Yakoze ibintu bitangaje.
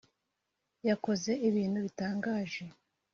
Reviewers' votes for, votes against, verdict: 2, 0, accepted